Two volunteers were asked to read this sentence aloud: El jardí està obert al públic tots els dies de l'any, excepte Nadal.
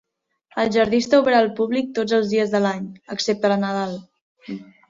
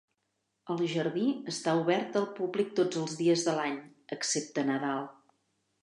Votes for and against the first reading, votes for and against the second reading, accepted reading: 1, 2, 4, 0, second